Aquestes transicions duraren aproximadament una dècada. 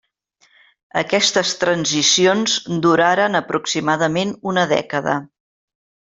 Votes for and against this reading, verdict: 3, 0, accepted